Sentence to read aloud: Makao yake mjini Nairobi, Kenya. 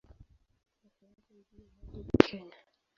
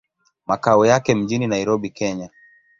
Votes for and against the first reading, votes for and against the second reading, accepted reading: 0, 2, 5, 0, second